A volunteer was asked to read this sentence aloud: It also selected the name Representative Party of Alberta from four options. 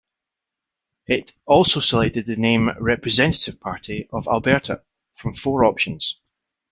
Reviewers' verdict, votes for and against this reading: accepted, 2, 0